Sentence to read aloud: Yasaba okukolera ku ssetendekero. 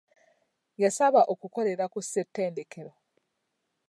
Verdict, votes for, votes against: accepted, 2, 0